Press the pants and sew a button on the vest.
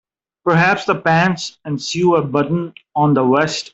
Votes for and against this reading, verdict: 0, 2, rejected